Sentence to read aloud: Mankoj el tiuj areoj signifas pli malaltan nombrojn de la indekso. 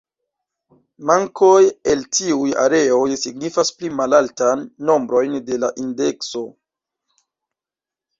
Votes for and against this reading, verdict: 0, 2, rejected